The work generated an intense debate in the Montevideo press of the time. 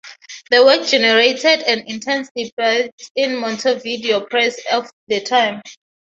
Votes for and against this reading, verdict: 0, 3, rejected